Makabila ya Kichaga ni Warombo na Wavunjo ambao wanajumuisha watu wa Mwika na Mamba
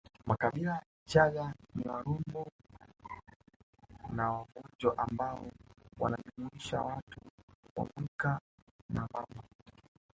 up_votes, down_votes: 0, 2